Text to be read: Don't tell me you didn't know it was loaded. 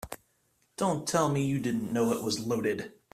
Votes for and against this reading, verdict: 4, 0, accepted